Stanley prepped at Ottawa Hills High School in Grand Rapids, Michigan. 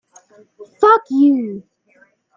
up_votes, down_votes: 1, 2